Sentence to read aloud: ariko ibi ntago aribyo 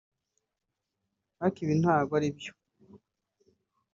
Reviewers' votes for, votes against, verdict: 2, 0, accepted